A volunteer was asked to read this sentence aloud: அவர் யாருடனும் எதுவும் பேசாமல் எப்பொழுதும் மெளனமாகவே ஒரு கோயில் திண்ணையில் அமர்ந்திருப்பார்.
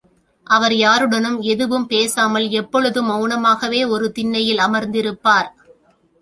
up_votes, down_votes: 0, 2